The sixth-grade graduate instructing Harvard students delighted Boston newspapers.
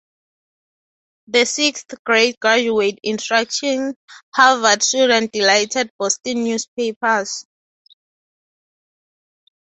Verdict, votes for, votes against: rejected, 0, 2